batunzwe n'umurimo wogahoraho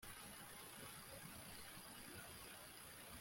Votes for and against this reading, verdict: 0, 2, rejected